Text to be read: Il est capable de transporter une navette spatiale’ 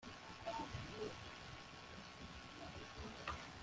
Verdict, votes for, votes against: rejected, 0, 2